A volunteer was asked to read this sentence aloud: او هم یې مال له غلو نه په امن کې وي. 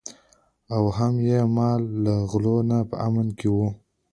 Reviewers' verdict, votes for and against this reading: accepted, 2, 0